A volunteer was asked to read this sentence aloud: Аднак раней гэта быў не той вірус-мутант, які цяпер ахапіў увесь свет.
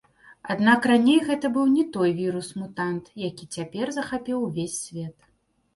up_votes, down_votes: 0, 3